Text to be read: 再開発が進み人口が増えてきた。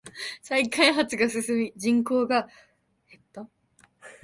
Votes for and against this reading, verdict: 1, 2, rejected